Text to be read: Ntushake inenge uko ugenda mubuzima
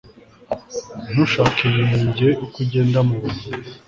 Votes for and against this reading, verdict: 2, 0, accepted